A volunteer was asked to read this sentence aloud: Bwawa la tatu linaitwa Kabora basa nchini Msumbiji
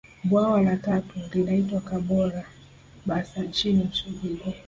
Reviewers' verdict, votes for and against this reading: rejected, 1, 2